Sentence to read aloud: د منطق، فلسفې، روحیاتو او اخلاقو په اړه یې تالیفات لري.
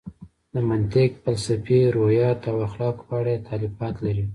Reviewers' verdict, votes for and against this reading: rejected, 1, 2